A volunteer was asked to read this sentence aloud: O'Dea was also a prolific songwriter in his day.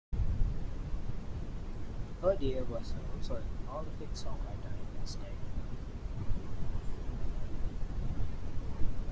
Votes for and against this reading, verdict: 0, 2, rejected